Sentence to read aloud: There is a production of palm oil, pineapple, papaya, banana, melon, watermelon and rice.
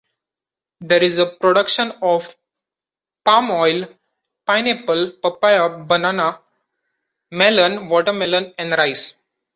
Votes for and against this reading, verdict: 2, 0, accepted